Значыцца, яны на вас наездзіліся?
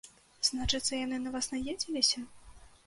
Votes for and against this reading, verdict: 1, 2, rejected